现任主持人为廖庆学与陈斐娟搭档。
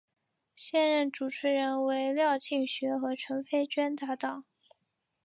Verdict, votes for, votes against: accepted, 2, 0